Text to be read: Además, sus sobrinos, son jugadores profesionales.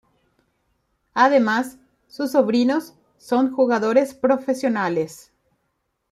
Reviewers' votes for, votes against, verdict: 1, 2, rejected